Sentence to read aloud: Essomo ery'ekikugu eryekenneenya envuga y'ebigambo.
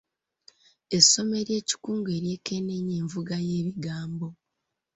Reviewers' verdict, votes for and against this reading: rejected, 1, 2